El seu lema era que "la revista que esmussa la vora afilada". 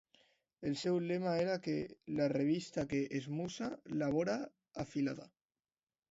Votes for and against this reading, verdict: 2, 0, accepted